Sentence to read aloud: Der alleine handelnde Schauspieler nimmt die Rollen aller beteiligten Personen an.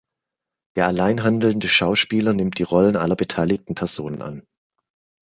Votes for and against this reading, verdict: 1, 2, rejected